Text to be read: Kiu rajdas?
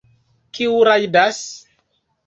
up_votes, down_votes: 2, 1